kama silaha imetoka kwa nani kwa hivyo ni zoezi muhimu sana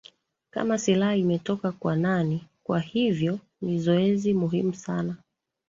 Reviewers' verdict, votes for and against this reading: accepted, 2, 1